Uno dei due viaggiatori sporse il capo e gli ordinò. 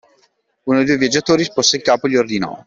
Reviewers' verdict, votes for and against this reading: accepted, 2, 1